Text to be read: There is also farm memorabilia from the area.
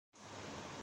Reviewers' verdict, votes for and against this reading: rejected, 1, 2